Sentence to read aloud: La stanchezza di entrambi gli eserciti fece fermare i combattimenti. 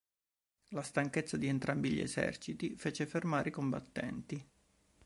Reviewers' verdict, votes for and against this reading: rejected, 1, 2